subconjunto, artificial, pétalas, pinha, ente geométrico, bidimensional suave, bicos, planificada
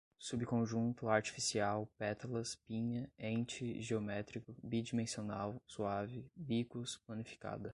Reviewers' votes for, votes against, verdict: 2, 0, accepted